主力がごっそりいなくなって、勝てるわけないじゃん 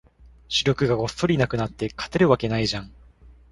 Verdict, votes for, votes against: accepted, 2, 0